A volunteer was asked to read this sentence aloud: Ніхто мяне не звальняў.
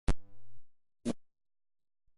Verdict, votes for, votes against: rejected, 0, 2